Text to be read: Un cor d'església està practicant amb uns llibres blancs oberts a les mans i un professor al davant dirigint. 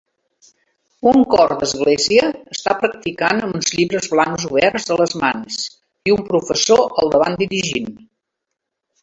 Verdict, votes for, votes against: accepted, 2, 1